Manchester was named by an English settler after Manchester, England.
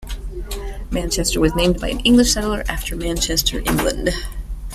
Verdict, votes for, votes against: accepted, 2, 0